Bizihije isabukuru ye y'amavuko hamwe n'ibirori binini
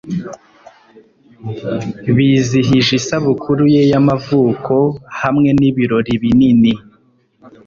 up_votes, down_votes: 2, 0